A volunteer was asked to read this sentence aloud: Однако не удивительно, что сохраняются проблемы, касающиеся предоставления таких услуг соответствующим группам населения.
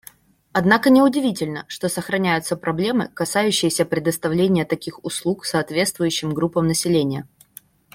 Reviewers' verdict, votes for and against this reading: accepted, 2, 0